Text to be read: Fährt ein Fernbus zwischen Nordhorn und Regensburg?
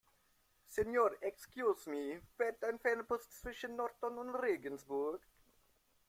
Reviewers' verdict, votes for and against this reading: rejected, 1, 2